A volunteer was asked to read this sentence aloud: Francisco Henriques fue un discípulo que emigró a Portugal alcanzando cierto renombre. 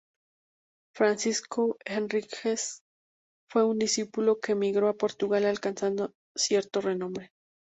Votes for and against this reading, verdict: 4, 0, accepted